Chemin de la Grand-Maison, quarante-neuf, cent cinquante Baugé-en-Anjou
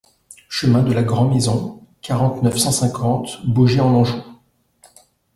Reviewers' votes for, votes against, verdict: 2, 0, accepted